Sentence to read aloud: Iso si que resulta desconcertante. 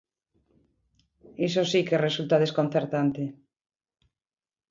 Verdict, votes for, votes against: accepted, 2, 0